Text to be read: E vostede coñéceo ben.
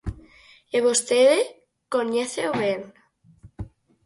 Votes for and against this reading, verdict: 4, 0, accepted